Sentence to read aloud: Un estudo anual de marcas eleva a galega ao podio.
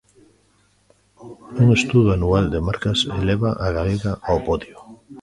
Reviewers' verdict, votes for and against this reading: accepted, 2, 1